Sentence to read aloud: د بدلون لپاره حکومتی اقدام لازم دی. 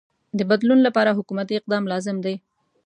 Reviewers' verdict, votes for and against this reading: accepted, 2, 0